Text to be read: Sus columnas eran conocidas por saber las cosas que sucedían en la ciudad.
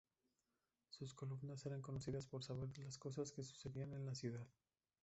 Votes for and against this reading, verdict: 0, 2, rejected